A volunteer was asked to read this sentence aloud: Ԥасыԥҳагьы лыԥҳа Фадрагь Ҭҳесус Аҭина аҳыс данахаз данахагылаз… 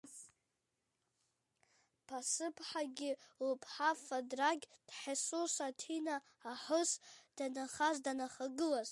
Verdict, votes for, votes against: rejected, 0, 2